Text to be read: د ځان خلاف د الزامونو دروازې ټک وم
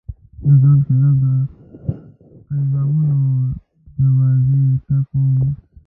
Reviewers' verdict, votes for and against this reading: rejected, 1, 2